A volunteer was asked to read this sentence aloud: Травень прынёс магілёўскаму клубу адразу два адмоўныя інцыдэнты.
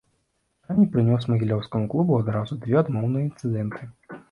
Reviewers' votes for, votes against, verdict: 1, 2, rejected